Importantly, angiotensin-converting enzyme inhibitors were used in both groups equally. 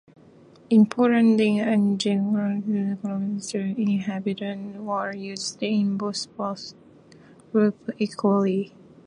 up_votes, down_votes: 0, 2